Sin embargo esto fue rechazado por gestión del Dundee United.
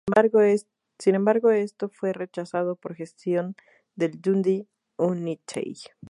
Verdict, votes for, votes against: rejected, 0, 2